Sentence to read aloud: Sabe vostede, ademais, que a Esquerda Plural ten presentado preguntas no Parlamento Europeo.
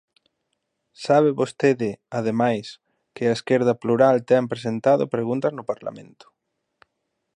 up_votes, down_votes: 0, 2